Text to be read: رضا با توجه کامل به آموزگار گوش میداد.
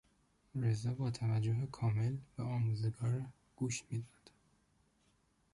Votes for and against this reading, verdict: 0, 2, rejected